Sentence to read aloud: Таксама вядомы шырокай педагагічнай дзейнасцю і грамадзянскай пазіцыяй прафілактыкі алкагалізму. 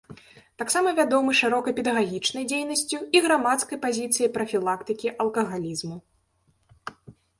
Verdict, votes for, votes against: rejected, 0, 2